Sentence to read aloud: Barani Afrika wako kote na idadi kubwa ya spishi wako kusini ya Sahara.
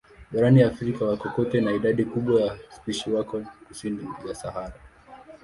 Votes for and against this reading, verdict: 2, 0, accepted